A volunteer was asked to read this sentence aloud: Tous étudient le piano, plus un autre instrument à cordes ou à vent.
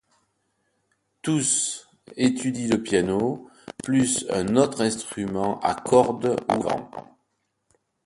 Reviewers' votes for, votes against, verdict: 1, 2, rejected